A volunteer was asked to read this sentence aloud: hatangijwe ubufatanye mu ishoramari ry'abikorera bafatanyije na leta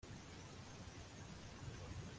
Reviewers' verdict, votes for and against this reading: rejected, 0, 2